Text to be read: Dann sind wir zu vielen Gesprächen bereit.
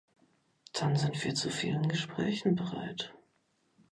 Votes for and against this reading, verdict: 2, 0, accepted